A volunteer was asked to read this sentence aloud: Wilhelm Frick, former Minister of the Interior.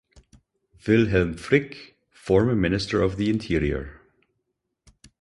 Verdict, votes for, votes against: accepted, 4, 0